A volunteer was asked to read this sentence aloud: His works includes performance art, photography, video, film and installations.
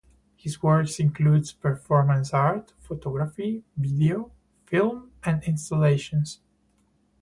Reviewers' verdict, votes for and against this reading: accepted, 4, 0